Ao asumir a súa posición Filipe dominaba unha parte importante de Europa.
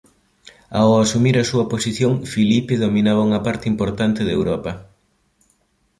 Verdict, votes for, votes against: accepted, 2, 0